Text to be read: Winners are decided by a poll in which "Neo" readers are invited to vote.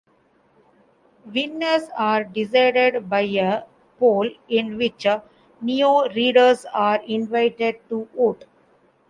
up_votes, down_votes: 0, 2